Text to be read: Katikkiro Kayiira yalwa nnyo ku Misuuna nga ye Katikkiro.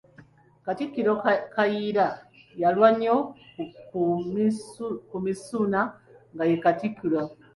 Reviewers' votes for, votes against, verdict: 1, 2, rejected